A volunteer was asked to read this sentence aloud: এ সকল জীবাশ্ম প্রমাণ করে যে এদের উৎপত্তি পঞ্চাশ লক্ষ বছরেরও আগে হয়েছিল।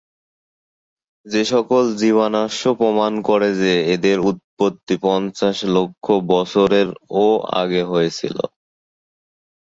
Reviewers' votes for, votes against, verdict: 0, 6, rejected